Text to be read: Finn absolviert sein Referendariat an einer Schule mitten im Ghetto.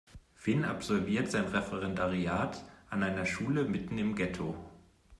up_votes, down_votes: 2, 0